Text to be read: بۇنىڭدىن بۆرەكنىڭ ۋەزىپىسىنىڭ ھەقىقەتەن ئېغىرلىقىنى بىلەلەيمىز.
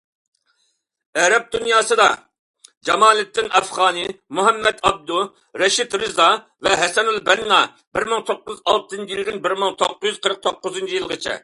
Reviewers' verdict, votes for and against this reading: rejected, 0, 2